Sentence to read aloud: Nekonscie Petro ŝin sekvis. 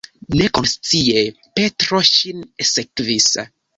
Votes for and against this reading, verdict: 1, 2, rejected